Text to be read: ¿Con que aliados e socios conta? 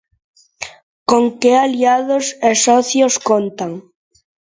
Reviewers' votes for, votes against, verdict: 0, 2, rejected